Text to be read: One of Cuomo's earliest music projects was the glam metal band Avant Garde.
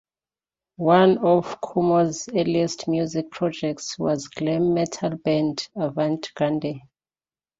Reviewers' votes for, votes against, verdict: 0, 2, rejected